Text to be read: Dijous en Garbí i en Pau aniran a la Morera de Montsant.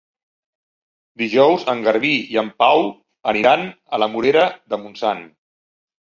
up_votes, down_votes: 3, 0